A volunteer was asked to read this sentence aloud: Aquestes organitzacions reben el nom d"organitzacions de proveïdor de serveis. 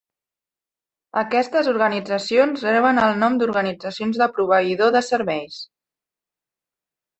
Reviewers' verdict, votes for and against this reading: accepted, 2, 0